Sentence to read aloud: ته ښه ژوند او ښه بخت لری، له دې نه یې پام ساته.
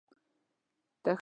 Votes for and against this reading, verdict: 1, 2, rejected